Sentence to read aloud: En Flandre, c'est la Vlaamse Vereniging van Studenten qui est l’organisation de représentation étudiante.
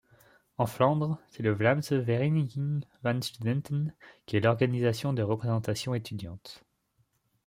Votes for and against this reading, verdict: 0, 2, rejected